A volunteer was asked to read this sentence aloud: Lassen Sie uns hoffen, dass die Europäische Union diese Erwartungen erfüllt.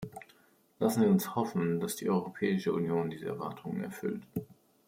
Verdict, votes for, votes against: accepted, 2, 0